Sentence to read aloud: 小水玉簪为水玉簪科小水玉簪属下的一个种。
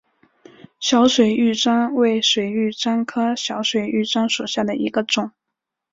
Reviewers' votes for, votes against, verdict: 2, 0, accepted